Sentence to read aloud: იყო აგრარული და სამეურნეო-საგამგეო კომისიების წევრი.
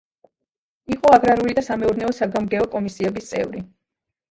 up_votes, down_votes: 1, 2